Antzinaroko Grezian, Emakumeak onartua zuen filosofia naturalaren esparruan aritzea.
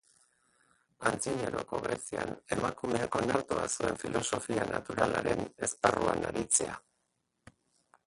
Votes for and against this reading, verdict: 0, 2, rejected